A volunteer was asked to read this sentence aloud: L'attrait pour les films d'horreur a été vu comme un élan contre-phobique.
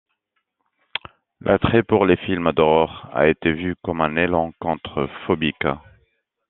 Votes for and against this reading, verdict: 2, 0, accepted